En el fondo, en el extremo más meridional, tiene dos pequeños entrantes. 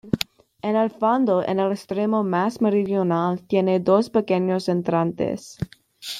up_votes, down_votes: 2, 0